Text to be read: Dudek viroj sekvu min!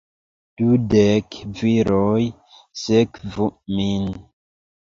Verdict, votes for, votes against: accepted, 2, 1